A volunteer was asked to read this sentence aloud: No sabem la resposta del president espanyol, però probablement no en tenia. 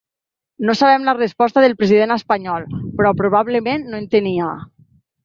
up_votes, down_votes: 3, 0